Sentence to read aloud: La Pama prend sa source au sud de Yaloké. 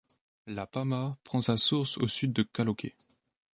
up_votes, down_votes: 0, 2